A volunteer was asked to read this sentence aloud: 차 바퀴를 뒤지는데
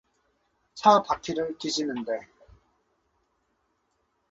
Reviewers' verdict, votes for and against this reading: accepted, 2, 0